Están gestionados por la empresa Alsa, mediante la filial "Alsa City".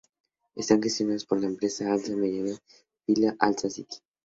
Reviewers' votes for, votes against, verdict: 0, 2, rejected